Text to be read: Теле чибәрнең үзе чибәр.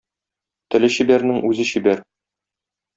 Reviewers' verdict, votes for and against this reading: accepted, 2, 0